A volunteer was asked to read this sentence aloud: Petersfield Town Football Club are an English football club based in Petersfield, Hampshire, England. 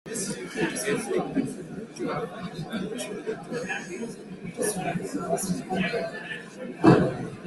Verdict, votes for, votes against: rejected, 0, 2